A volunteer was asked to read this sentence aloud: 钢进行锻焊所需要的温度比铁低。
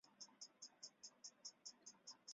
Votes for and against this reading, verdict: 0, 3, rejected